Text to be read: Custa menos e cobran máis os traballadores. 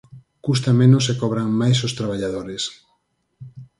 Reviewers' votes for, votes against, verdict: 4, 0, accepted